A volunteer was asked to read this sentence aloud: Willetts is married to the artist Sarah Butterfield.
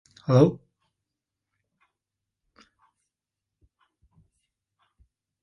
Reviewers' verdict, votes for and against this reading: rejected, 0, 2